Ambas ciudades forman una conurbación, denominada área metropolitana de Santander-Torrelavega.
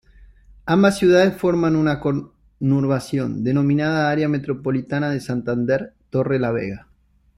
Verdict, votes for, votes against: rejected, 1, 2